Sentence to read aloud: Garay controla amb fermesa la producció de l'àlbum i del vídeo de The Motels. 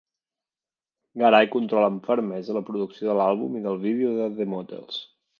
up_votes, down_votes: 2, 0